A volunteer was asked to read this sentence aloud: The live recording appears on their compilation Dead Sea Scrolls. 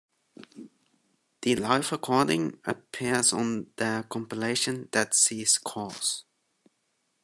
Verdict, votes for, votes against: accepted, 2, 0